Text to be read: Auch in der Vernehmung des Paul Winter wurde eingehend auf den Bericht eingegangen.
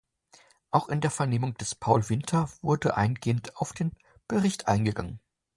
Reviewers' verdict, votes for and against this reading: accepted, 2, 0